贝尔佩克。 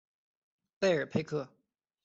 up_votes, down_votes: 2, 0